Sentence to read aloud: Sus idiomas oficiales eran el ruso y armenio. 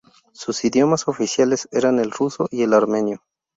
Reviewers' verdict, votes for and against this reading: rejected, 0, 2